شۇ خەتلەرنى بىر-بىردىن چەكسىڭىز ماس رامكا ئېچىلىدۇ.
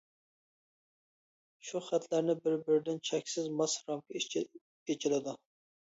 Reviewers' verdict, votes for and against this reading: rejected, 0, 2